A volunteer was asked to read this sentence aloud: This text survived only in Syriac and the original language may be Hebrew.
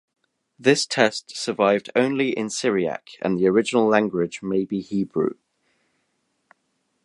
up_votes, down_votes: 1, 2